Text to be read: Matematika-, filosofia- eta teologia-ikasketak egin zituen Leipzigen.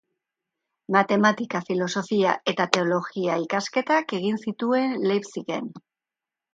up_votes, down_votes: 2, 0